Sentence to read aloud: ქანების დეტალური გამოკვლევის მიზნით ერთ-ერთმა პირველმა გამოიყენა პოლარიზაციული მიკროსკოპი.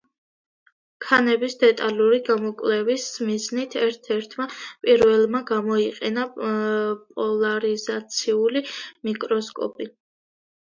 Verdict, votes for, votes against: rejected, 0, 2